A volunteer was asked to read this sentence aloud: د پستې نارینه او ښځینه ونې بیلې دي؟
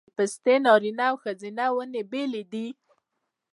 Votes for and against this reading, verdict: 1, 2, rejected